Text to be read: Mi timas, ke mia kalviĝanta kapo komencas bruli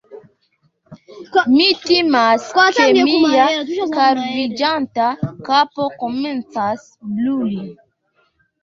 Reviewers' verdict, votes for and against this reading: accepted, 2, 1